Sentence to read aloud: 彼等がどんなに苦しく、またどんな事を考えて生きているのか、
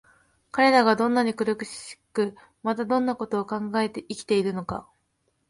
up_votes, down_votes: 1, 2